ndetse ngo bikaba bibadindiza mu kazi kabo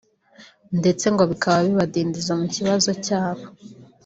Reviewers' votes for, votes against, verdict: 1, 2, rejected